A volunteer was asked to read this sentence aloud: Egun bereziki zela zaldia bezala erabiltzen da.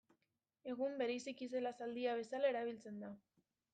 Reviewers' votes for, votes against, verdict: 0, 2, rejected